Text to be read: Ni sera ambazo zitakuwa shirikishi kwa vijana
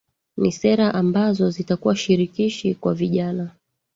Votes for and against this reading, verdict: 0, 2, rejected